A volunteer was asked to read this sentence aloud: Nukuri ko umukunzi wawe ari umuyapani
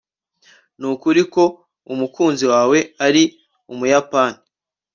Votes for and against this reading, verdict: 2, 0, accepted